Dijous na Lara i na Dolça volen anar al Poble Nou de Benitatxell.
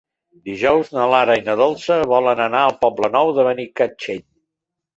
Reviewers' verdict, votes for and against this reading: rejected, 2, 3